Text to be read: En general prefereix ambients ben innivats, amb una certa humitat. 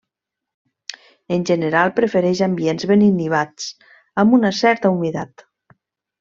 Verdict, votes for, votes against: rejected, 1, 2